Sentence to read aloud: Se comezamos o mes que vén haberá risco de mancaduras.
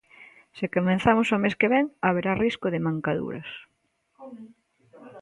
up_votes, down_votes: 1, 2